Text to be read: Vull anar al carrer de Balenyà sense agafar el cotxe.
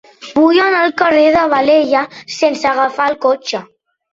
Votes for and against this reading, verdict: 1, 2, rejected